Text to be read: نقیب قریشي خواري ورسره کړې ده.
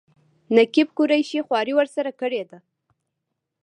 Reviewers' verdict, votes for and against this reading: rejected, 1, 2